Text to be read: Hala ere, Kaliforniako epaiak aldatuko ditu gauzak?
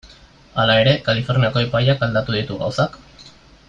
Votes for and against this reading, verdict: 2, 0, accepted